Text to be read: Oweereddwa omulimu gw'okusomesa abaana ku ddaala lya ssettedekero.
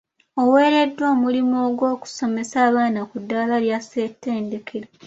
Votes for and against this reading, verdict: 2, 1, accepted